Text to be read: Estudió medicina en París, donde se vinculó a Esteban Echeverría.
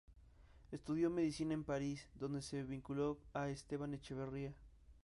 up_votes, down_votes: 0, 2